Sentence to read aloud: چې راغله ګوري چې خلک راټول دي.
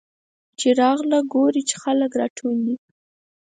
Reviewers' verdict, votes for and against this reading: accepted, 4, 0